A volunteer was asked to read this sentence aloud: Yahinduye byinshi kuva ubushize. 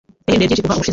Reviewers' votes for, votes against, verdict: 0, 2, rejected